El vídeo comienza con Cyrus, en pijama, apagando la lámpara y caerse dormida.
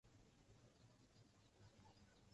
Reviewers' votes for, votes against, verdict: 0, 2, rejected